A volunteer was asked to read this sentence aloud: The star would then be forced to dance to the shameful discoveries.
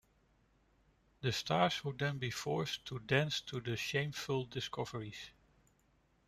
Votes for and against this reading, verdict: 1, 2, rejected